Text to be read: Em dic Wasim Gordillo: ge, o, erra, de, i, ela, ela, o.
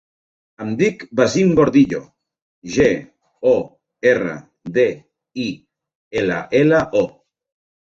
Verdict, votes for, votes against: accepted, 2, 1